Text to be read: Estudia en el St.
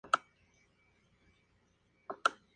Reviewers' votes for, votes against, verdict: 0, 4, rejected